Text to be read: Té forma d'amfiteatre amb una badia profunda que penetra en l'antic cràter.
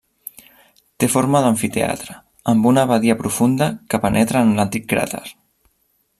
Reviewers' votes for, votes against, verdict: 3, 0, accepted